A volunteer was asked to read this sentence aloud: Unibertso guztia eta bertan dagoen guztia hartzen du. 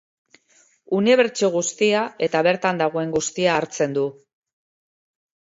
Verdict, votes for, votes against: accepted, 2, 0